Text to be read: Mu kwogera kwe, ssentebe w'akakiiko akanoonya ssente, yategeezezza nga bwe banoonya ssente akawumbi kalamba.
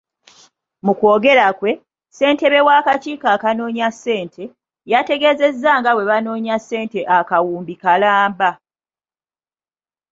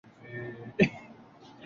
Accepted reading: first